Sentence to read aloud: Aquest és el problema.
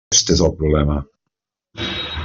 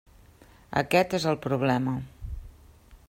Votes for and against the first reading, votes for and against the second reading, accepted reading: 0, 2, 3, 0, second